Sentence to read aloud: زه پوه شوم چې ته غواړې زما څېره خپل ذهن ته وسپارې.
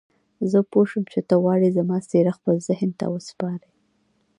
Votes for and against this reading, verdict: 2, 0, accepted